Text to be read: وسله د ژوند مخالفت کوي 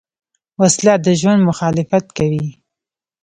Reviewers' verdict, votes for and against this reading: rejected, 0, 2